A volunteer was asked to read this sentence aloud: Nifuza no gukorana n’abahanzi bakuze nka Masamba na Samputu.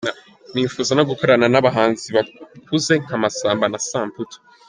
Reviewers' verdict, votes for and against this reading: rejected, 1, 2